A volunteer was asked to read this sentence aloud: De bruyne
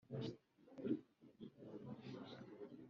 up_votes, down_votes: 0, 3